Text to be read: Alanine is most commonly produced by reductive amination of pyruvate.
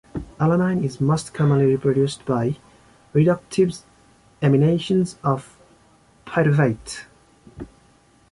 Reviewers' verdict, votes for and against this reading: accepted, 2, 1